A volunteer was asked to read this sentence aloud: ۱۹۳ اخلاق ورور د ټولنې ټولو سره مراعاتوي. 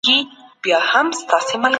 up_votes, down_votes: 0, 2